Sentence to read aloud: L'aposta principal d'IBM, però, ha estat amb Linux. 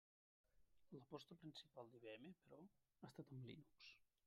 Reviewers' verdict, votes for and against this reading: rejected, 1, 2